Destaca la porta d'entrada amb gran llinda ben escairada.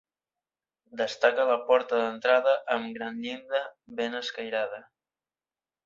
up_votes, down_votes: 3, 0